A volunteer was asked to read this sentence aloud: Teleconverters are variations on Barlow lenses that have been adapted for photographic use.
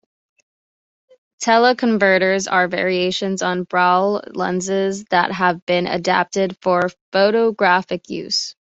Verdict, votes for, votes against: accepted, 2, 1